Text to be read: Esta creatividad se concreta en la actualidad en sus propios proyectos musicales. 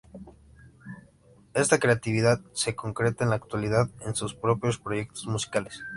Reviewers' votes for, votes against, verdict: 2, 0, accepted